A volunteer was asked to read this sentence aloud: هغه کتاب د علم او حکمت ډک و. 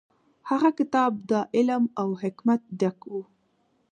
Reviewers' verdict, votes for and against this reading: accepted, 2, 1